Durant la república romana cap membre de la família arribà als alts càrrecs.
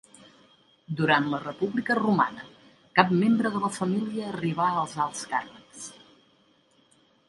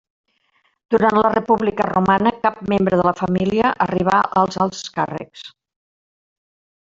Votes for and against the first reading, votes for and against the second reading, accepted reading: 3, 0, 1, 2, first